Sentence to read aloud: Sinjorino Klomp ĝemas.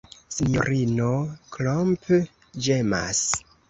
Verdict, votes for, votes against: accepted, 2, 0